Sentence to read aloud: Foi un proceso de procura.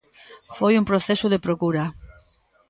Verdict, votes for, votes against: rejected, 0, 2